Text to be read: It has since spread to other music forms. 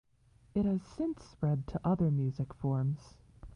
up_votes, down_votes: 1, 2